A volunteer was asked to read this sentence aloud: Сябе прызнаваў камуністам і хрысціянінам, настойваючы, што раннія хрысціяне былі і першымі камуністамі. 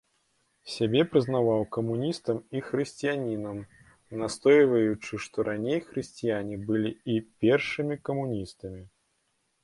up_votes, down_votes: 0, 2